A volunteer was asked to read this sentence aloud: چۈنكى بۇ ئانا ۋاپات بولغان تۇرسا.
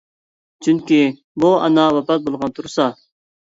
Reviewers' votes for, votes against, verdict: 2, 0, accepted